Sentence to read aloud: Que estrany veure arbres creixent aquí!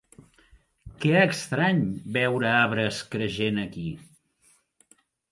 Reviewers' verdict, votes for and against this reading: rejected, 1, 2